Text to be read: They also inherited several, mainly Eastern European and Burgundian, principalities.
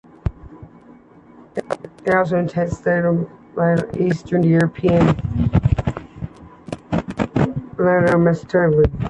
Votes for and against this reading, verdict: 0, 2, rejected